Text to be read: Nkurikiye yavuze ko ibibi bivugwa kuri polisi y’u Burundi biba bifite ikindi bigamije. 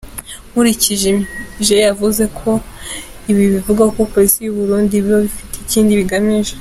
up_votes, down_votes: 0, 3